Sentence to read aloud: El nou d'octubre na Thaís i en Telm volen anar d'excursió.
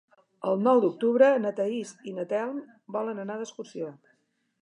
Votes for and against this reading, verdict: 0, 2, rejected